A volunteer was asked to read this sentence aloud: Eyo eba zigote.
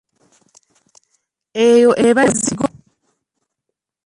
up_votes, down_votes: 2, 1